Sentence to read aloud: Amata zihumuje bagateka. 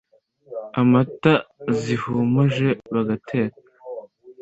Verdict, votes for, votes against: accepted, 2, 0